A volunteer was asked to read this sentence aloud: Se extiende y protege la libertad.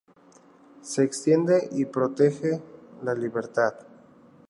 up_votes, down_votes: 2, 0